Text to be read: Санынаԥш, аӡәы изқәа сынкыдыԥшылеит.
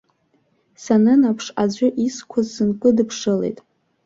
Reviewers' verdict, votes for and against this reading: accepted, 3, 0